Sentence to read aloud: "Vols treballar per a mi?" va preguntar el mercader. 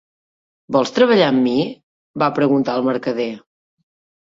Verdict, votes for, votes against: rejected, 0, 3